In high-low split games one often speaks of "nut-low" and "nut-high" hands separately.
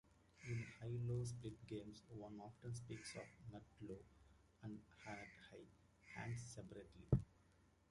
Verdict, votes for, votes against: rejected, 0, 2